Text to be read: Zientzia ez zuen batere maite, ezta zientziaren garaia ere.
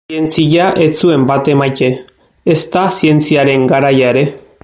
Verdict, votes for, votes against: rejected, 0, 2